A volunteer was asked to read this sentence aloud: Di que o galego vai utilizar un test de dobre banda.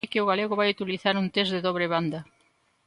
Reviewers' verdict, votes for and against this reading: rejected, 0, 2